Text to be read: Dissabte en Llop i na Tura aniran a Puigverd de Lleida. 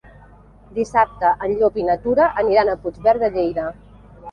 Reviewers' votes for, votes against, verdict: 3, 0, accepted